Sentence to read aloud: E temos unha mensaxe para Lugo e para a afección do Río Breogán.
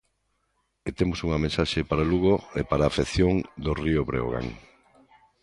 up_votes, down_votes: 2, 0